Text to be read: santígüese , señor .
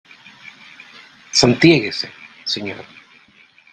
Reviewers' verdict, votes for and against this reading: rejected, 1, 2